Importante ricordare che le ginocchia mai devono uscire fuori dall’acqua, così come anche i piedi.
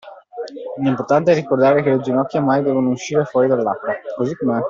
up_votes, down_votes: 0, 2